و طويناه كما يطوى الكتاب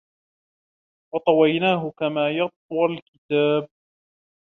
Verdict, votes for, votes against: accepted, 2, 0